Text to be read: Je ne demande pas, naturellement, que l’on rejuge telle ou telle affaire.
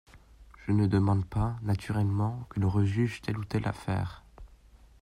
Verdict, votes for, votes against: accepted, 2, 0